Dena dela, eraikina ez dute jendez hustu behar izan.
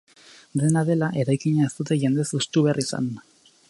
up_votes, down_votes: 4, 2